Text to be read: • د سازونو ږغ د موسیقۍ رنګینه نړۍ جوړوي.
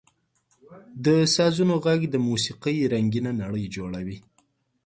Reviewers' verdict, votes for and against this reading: accepted, 2, 0